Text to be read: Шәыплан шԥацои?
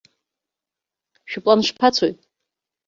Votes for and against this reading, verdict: 2, 0, accepted